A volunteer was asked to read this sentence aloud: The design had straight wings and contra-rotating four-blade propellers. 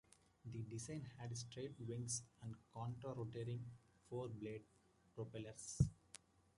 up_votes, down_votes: 1, 2